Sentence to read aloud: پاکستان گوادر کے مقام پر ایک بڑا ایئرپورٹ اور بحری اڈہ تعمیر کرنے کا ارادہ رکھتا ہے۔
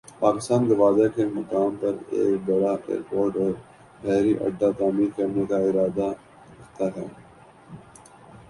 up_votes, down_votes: 2, 0